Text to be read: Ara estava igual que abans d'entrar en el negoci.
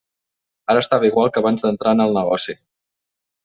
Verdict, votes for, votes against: accepted, 3, 0